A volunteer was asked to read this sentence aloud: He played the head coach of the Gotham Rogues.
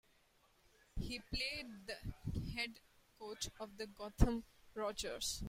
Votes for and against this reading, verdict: 0, 2, rejected